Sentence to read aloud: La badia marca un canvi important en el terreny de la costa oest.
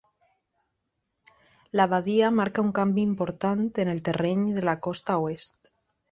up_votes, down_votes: 3, 0